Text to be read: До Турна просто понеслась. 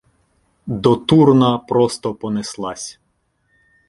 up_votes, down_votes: 2, 0